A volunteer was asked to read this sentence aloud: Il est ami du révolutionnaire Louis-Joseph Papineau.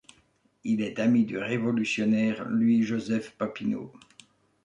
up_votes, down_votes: 2, 0